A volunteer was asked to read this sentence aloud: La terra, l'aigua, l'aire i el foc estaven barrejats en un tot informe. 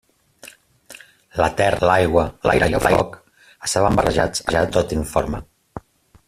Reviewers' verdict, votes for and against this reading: rejected, 0, 2